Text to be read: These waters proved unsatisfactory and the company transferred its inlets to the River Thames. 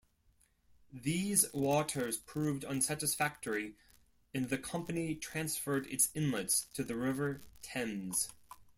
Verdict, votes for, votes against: accepted, 2, 0